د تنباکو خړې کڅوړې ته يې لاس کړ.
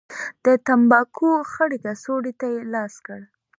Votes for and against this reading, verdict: 2, 0, accepted